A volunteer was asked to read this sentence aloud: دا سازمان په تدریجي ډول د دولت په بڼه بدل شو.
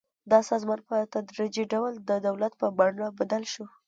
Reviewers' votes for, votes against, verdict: 2, 0, accepted